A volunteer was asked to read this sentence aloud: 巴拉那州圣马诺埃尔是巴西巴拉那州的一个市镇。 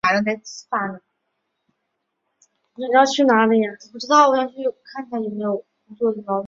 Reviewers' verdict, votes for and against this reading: rejected, 0, 3